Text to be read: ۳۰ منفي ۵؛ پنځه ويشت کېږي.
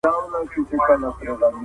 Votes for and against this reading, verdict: 0, 2, rejected